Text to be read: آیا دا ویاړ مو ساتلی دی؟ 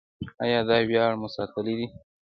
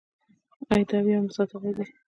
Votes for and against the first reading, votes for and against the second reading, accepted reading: 2, 0, 0, 2, first